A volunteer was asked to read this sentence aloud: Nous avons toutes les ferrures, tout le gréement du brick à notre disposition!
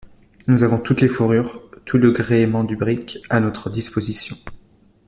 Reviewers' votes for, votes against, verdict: 0, 2, rejected